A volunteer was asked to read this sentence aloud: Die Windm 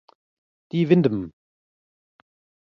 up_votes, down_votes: 2, 1